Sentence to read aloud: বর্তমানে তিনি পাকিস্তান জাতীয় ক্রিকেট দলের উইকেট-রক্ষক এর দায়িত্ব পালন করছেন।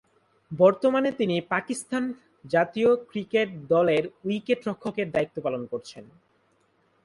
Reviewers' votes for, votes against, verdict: 4, 0, accepted